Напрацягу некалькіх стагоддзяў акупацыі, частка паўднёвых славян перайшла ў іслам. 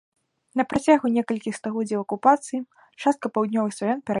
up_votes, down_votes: 0, 2